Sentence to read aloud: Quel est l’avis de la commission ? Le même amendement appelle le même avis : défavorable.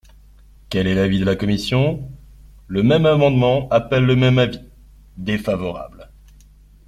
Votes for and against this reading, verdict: 2, 0, accepted